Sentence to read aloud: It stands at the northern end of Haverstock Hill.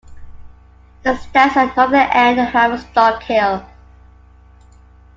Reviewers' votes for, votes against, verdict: 2, 1, accepted